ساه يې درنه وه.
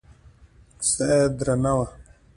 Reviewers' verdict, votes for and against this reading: accepted, 2, 1